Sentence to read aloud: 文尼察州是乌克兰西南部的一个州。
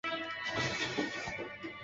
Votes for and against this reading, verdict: 1, 2, rejected